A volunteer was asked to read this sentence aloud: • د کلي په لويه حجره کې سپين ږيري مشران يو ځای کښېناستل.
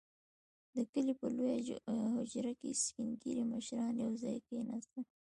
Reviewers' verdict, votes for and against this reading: rejected, 1, 2